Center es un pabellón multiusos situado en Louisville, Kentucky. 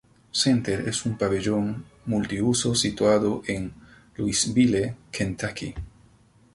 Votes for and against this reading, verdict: 2, 0, accepted